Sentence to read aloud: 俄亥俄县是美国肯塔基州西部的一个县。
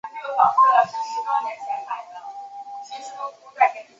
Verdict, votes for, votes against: rejected, 0, 2